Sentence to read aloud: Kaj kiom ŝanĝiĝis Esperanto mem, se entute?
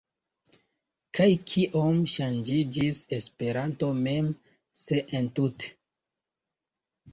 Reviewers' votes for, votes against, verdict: 1, 2, rejected